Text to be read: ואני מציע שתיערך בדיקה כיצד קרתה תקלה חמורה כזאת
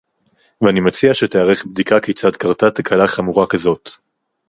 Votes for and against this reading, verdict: 4, 0, accepted